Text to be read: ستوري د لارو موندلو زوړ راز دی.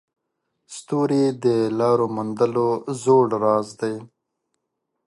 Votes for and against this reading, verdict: 2, 0, accepted